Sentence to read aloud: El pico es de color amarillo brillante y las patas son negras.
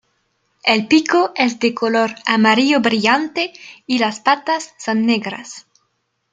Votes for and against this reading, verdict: 2, 0, accepted